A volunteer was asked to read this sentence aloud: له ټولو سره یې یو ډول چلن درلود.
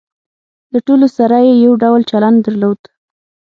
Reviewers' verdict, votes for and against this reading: accepted, 6, 0